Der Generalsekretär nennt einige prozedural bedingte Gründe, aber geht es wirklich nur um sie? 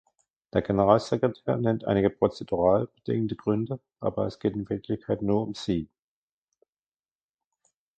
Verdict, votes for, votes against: rejected, 1, 2